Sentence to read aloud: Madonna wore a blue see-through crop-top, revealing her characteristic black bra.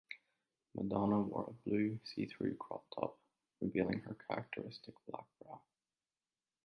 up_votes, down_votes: 1, 2